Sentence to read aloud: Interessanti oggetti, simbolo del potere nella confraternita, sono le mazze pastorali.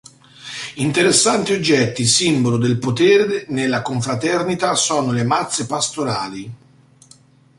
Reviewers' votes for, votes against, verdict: 2, 0, accepted